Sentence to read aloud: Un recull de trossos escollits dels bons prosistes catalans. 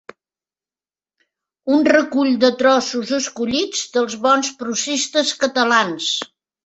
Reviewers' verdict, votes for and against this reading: accepted, 4, 1